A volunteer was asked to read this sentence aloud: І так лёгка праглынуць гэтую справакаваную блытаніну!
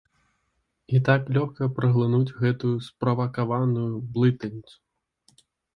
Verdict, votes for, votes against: rejected, 0, 2